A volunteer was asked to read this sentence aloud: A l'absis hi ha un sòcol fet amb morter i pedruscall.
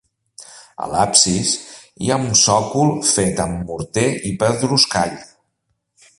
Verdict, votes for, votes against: accepted, 2, 0